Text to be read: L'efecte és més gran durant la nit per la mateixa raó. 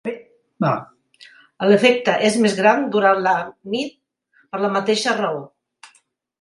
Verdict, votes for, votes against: rejected, 1, 2